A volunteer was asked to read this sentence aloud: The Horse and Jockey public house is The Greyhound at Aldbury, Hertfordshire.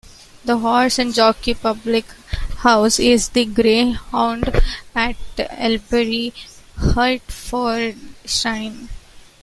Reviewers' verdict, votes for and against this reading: rejected, 1, 2